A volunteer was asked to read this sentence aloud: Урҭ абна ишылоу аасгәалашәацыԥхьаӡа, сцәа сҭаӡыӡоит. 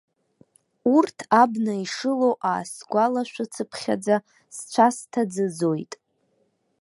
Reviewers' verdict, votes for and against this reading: accepted, 2, 0